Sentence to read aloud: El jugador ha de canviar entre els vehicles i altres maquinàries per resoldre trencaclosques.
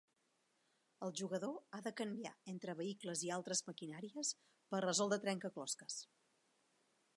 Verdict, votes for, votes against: rejected, 0, 2